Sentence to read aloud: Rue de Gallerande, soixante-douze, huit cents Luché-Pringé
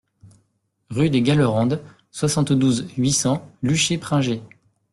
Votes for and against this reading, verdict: 2, 0, accepted